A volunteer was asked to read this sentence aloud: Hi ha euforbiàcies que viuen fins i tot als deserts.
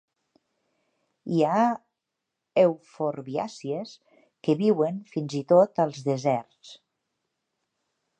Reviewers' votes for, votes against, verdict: 2, 0, accepted